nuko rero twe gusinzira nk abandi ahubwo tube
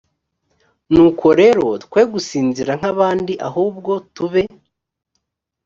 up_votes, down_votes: 4, 0